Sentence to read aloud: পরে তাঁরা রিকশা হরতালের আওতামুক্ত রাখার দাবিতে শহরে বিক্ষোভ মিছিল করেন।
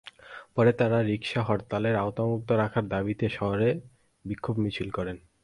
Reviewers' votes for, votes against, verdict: 4, 0, accepted